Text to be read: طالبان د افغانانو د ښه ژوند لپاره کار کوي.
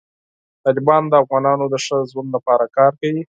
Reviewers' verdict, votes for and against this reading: accepted, 4, 0